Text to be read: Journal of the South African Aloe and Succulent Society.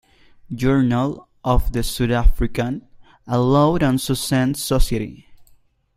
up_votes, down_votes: 1, 2